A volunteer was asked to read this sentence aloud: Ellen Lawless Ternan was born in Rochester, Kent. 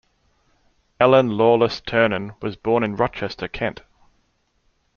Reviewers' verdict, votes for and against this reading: accepted, 2, 0